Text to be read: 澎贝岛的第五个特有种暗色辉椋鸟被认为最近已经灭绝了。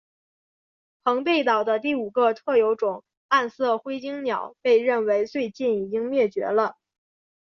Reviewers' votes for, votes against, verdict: 2, 1, accepted